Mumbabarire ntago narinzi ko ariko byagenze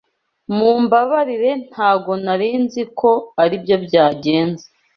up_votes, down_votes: 1, 2